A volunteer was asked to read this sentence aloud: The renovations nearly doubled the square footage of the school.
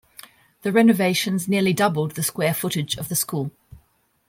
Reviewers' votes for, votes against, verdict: 2, 0, accepted